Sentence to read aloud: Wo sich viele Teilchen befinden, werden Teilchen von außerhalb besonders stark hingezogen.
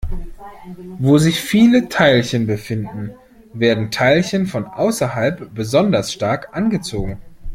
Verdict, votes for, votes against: rejected, 0, 2